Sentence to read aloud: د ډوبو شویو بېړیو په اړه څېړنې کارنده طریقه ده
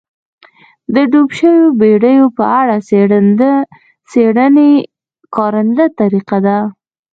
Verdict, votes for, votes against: rejected, 1, 2